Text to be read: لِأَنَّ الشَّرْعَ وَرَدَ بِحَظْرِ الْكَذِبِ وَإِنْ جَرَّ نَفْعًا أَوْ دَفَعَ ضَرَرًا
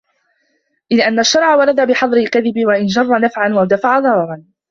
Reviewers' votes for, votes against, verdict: 1, 2, rejected